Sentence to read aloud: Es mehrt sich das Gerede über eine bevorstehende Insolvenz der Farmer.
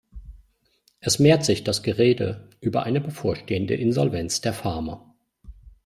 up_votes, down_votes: 2, 0